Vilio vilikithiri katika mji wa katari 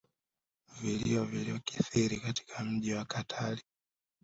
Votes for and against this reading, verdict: 1, 2, rejected